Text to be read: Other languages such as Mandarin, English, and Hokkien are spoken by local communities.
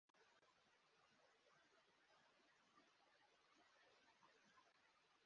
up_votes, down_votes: 0, 2